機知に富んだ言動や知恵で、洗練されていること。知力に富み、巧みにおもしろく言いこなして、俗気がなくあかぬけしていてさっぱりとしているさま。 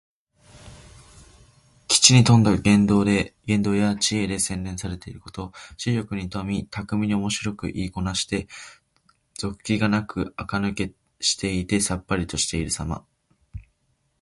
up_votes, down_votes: 2, 1